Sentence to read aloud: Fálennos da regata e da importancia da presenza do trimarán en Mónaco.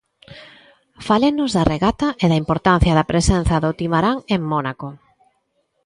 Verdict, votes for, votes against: rejected, 0, 3